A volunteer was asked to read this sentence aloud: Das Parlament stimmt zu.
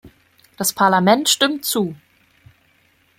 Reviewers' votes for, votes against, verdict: 2, 0, accepted